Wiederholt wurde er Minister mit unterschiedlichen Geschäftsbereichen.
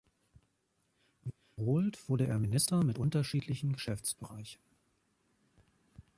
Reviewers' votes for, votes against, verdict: 3, 2, accepted